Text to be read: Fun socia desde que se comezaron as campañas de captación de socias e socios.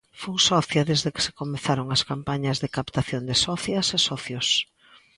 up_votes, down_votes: 2, 0